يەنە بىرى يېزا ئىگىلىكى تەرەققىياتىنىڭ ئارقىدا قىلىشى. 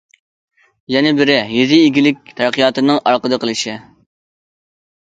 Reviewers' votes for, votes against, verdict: 2, 1, accepted